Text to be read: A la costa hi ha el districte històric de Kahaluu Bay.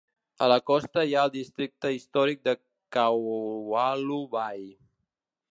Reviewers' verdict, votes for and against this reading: rejected, 1, 3